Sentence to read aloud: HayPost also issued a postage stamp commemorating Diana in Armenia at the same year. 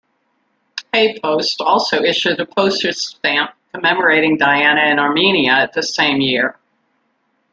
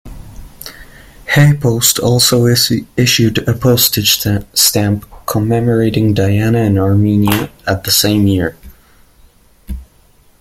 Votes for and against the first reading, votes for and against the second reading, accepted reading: 2, 0, 1, 2, first